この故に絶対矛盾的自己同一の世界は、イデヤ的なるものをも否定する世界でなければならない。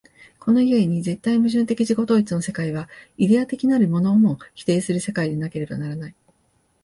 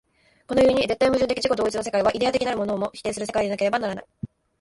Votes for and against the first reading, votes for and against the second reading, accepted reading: 5, 0, 0, 2, first